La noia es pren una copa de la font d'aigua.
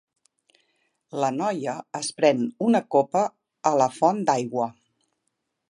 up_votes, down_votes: 0, 2